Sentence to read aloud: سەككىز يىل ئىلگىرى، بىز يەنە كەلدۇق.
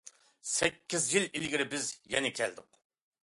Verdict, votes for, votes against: accepted, 2, 0